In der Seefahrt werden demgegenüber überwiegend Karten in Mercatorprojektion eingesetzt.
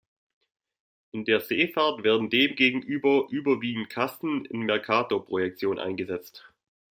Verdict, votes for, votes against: rejected, 1, 2